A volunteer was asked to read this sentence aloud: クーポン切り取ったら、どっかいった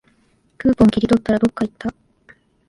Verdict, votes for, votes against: accepted, 2, 0